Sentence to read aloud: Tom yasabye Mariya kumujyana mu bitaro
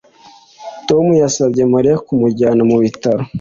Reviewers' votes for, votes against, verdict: 2, 0, accepted